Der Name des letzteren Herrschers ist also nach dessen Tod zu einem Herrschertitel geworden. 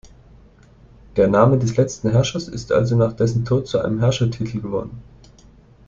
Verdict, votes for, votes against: rejected, 0, 2